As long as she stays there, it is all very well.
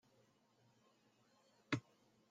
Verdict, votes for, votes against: rejected, 0, 2